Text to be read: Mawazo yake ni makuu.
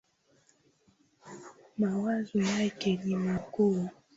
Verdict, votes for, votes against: accepted, 3, 0